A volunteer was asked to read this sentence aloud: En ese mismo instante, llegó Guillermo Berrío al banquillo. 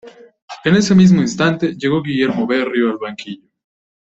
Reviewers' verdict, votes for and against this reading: accepted, 2, 0